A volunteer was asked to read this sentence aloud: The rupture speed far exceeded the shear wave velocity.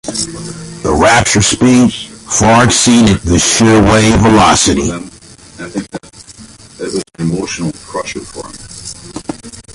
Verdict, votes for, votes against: accepted, 2, 0